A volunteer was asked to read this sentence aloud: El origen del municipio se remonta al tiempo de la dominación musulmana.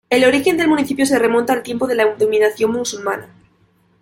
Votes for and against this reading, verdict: 1, 2, rejected